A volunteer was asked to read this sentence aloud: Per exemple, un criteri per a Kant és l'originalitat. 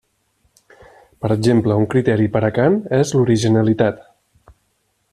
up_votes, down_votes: 2, 1